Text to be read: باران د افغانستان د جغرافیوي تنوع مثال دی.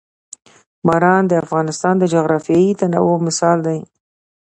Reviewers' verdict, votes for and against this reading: accepted, 2, 0